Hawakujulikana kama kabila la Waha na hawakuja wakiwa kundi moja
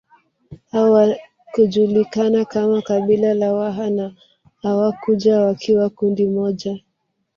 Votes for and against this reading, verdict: 2, 1, accepted